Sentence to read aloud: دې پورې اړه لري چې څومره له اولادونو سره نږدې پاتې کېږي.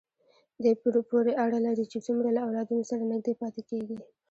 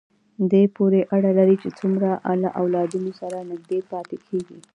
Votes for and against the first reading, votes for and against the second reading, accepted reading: 1, 2, 2, 0, second